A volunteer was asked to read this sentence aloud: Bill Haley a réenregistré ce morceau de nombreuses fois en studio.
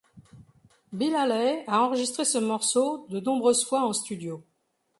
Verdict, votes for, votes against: rejected, 1, 3